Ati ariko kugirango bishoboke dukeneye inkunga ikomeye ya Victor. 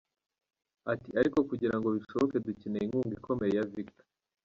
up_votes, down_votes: 2, 0